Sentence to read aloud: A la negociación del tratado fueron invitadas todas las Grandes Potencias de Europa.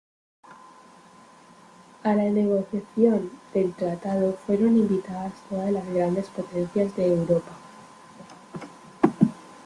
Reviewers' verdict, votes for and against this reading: accepted, 3, 1